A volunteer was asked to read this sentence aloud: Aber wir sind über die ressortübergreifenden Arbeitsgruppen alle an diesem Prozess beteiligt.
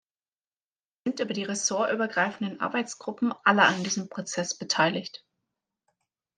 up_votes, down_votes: 0, 2